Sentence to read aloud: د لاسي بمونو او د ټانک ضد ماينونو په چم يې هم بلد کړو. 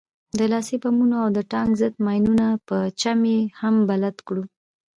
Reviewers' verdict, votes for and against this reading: rejected, 0, 2